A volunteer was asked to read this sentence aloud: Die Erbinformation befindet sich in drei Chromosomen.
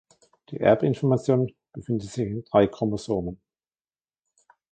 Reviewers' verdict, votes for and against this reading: rejected, 1, 2